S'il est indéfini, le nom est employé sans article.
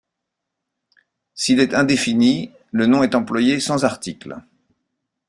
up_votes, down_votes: 1, 2